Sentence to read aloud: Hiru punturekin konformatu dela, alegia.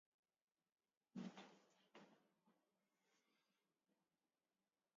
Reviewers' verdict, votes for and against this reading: rejected, 1, 2